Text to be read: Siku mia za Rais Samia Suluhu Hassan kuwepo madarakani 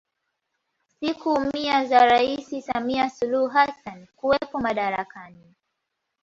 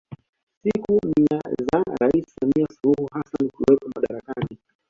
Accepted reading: first